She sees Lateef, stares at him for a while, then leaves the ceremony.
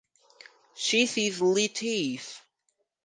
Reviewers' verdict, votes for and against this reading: rejected, 0, 4